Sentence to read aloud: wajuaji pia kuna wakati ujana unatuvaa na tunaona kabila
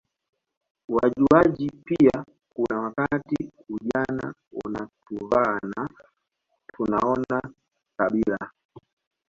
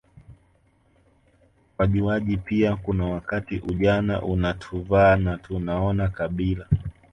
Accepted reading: second